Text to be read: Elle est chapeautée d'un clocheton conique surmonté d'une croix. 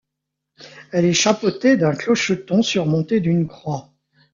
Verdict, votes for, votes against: rejected, 0, 2